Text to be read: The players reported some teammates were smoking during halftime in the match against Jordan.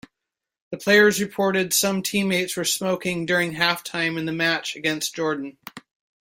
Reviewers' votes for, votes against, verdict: 2, 0, accepted